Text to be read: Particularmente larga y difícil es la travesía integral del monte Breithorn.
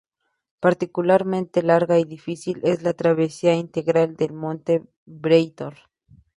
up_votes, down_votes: 4, 0